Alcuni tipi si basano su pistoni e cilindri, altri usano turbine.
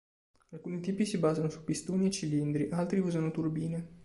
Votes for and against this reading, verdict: 4, 0, accepted